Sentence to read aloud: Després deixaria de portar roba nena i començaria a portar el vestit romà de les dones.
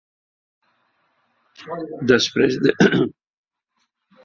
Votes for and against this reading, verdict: 1, 2, rejected